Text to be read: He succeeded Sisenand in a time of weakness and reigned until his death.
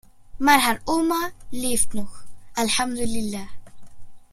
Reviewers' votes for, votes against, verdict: 0, 2, rejected